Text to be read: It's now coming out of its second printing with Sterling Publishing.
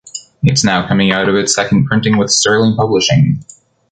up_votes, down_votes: 0, 2